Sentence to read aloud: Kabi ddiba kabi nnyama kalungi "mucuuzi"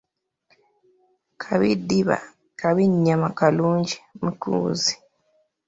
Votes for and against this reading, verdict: 2, 0, accepted